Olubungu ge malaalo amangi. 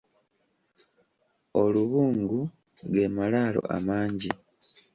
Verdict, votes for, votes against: accepted, 2, 1